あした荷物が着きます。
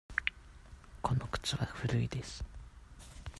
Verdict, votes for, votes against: rejected, 0, 2